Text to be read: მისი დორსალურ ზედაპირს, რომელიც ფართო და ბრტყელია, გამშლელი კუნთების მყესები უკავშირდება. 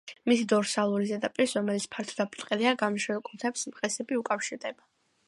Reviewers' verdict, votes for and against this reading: accepted, 2, 1